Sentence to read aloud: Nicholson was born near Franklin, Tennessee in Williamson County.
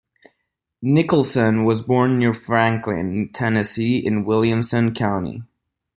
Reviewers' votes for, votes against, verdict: 2, 0, accepted